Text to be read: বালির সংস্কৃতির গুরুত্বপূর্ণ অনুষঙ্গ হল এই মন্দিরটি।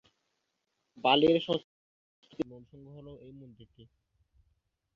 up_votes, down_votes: 0, 5